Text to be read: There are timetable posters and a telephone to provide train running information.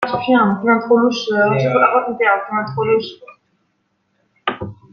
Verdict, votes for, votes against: rejected, 0, 2